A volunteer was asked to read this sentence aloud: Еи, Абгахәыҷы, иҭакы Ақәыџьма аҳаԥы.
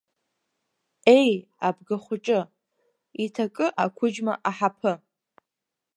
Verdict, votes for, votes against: accepted, 2, 0